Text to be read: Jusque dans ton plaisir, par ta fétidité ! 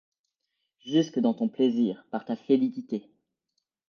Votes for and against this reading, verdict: 0, 2, rejected